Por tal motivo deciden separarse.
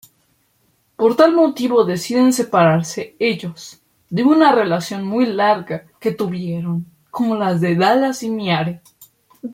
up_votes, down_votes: 0, 2